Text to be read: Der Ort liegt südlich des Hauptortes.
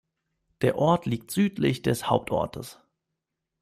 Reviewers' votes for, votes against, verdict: 2, 1, accepted